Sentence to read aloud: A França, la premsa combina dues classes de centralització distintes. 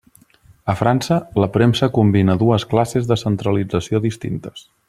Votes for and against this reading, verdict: 3, 0, accepted